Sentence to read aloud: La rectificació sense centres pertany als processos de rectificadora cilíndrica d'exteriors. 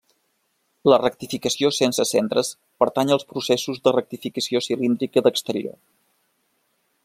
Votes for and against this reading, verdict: 0, 2, rejected